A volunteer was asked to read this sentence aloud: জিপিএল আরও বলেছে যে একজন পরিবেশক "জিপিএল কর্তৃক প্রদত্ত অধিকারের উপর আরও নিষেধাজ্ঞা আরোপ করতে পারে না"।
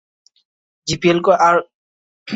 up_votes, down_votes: 0, 2